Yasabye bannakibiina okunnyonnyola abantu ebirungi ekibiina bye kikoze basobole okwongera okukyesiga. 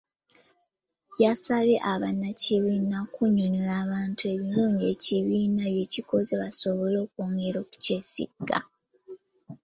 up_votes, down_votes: 0, 2